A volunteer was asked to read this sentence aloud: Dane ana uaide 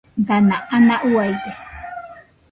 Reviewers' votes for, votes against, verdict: 0, 2, rejected